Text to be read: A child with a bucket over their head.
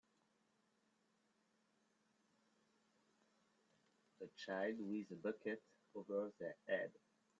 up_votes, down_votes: 2, 0